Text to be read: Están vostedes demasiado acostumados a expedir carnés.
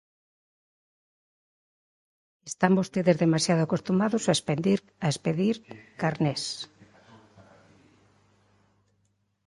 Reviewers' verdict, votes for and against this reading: rejected, 0, 2